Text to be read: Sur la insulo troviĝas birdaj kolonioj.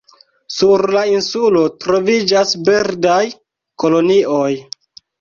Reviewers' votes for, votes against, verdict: 2, 0, accepted